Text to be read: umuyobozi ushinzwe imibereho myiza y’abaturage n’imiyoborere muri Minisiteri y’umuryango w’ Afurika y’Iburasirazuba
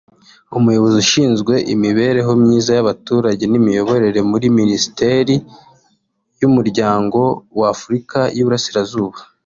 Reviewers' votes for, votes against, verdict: 2, 0, accepted